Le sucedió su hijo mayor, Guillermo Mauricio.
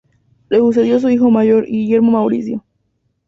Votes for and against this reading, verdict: 2, 0, accepted